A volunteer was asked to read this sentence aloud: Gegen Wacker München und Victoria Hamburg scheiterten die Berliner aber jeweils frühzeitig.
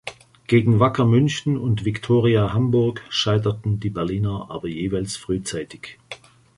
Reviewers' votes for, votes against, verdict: 3, 1, accepted